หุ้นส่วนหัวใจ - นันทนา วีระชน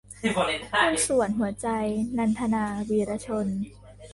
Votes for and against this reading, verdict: 1, 2, rejected